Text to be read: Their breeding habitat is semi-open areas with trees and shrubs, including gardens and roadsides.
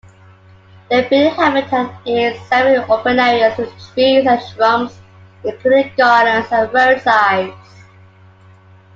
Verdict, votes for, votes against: accepted, 2, 1